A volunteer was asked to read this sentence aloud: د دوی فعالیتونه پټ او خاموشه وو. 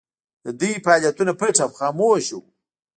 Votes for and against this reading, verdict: 1, 2, rejected